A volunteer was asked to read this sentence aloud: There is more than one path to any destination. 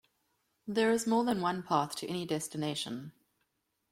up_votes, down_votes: 2, 0